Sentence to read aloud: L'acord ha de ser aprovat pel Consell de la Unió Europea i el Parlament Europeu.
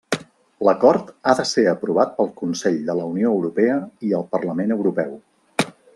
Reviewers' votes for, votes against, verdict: 3, 0, accepted